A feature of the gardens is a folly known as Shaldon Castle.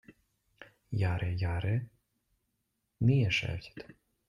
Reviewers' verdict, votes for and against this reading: rejected, 0, 2